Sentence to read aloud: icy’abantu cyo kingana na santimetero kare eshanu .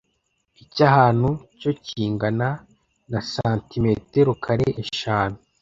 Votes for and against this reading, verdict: 0, 2, rejected